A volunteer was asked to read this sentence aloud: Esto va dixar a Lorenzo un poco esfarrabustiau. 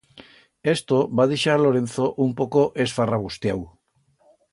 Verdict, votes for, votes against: accepted, 2, 0